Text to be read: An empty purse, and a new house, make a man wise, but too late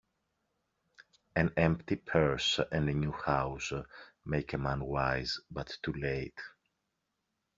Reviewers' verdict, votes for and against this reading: rejected, 0, 2